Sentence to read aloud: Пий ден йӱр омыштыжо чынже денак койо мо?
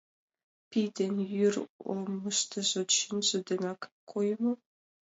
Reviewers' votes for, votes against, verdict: 1, 2, rejected